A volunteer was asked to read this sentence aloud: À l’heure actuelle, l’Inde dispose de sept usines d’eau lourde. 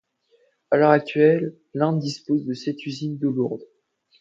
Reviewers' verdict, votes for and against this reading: rejected, 0, 2